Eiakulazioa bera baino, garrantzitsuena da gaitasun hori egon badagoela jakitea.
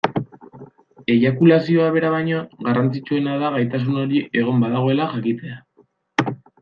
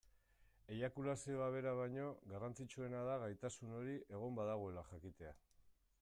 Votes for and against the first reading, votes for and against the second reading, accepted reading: 2, 0, 1, 2, first